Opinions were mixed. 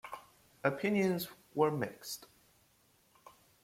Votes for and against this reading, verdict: 2, 1, accepted